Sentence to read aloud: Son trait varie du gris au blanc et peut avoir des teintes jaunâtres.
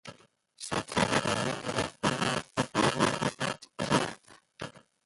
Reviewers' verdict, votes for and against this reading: rejected, 1, 2